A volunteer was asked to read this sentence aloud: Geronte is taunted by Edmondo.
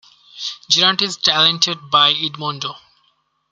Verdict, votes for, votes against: rejected, 1, 2